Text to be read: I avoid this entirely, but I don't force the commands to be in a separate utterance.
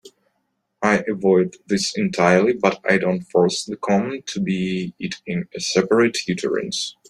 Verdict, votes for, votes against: rejected, 0, 2